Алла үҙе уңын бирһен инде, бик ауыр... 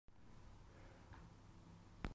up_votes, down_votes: 0, 2